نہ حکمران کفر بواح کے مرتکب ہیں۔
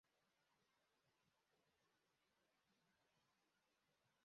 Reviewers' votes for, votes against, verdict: 0, 2, rejected